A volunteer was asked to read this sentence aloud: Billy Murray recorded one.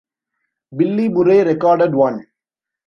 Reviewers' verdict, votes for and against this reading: rejected, 1, 2